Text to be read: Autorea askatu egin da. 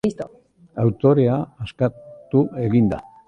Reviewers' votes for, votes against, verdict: 1, 2, rejected